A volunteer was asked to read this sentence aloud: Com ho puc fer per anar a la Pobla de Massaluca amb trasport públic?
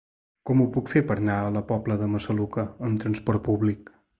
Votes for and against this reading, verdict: 0, 2, rejected